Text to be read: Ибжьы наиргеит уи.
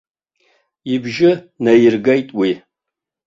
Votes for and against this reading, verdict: 2, 1, accepted